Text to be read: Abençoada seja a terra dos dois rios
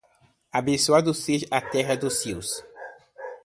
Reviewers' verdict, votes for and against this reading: rejected, 1, 2